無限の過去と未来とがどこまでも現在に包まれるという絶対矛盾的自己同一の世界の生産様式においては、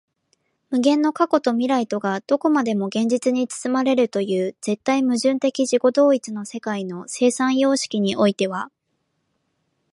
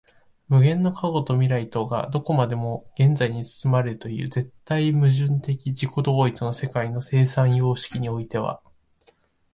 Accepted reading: second